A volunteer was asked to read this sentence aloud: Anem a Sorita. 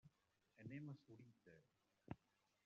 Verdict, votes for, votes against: rejected, 0, 2